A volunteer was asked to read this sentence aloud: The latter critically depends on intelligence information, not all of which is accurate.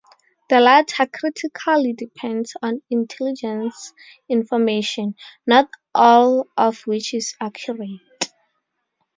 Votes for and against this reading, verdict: 2, 2, rejected